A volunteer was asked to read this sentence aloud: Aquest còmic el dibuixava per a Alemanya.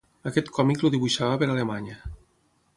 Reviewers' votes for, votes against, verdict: 3, 6, rejected